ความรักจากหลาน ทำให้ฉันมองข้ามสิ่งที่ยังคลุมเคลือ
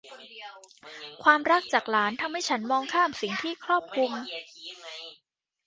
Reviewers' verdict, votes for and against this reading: rejected, 0, 2